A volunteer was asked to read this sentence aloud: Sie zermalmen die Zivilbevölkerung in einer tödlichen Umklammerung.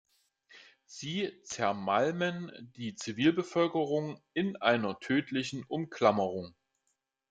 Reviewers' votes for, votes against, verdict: 2, 0, accepted